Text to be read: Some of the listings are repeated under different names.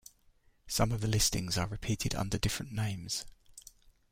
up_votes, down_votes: 2, 0